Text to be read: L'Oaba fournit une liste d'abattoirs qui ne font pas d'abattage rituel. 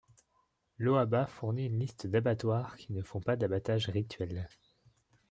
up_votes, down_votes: 2, 0